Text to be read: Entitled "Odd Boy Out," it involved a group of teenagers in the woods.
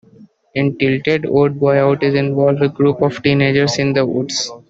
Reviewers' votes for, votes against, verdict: 1, 2, rejected